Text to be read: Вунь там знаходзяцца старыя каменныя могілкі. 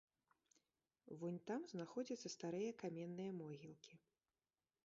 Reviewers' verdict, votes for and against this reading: rejected, 0, 2